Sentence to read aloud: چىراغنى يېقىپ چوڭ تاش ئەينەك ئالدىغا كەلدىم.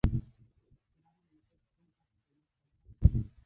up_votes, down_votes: 0, 2